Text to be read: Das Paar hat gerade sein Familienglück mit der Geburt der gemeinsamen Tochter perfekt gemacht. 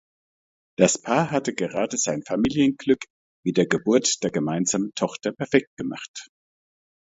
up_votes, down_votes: 1, 2